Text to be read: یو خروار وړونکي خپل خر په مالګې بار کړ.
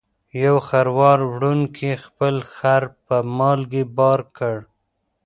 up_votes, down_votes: 1, 2